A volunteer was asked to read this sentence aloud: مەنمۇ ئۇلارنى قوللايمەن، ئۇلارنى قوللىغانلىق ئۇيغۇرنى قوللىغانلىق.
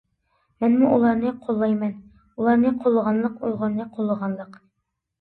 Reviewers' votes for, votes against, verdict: 2, 0, accepted